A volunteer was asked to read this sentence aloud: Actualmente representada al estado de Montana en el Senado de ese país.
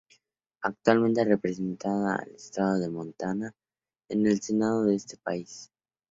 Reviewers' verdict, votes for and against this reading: rejected, 0, 2